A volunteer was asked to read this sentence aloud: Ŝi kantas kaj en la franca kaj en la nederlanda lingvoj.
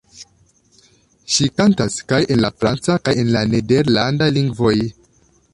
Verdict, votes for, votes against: accepted, 2, 0